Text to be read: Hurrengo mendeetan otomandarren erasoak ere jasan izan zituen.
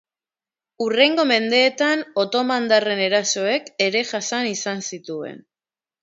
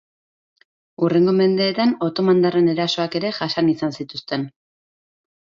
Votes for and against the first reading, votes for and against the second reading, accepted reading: 2, 1, 0, 2, first